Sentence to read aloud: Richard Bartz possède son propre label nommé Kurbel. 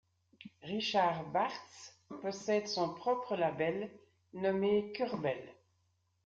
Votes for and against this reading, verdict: 2, 0, accepted